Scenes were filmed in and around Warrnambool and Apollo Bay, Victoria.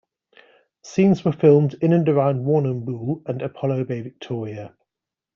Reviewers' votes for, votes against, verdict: 2, 1, accepted